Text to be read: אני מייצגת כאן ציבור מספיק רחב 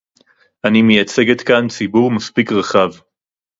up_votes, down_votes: 2, 0